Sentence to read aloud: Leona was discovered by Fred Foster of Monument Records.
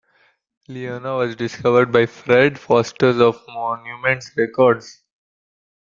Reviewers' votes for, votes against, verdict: 1, 2, rejected